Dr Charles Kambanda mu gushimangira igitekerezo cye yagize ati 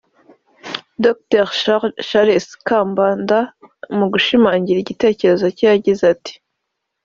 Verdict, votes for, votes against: accepted, 3, 1